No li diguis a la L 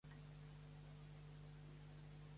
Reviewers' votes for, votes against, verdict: 0, 2, rejected